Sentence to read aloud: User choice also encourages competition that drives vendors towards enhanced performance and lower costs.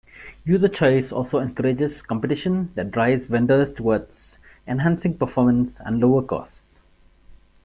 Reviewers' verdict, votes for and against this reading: rejected, 1, 2